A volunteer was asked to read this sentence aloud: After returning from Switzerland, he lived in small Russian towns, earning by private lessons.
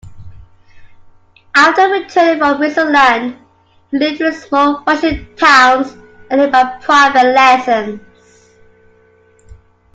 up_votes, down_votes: 2, 1